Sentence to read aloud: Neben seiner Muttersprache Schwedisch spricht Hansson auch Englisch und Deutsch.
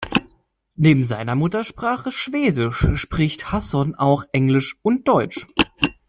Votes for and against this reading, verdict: 0, 2, rejected